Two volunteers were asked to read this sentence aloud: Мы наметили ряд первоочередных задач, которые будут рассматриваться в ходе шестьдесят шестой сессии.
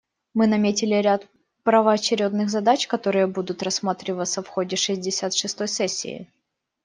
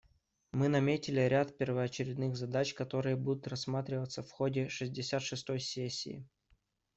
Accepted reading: second